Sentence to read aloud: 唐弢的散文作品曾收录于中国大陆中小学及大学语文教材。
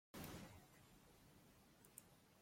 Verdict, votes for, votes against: rejected, 0, 2